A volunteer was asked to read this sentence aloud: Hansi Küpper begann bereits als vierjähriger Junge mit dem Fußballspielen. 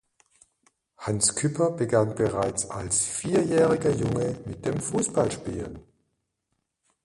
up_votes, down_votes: 0, 2